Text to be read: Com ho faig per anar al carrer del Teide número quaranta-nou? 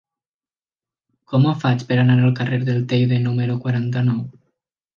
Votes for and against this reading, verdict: 3, 0, accepted